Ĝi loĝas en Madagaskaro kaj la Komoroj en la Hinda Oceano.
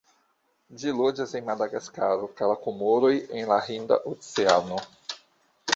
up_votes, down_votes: 2, 1